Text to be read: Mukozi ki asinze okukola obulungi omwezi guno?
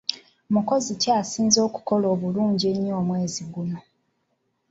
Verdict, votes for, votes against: accepted, 2, 1